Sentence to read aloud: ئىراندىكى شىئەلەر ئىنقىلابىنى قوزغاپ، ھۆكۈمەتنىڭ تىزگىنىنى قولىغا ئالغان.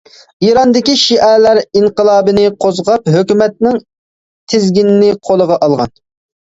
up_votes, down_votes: 2, 0